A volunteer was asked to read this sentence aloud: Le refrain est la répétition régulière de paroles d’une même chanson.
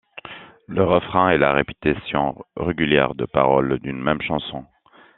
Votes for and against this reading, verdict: 1, 2, rejected